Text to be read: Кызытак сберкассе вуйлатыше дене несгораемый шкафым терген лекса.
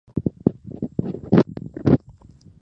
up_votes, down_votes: 0, 2